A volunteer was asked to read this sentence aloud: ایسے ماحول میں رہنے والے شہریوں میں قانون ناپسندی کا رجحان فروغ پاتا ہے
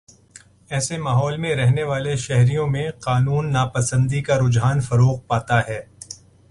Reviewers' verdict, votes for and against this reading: accepted, 2, 0